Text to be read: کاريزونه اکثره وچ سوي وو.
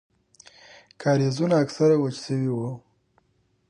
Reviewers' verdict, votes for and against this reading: rejected, 0, 2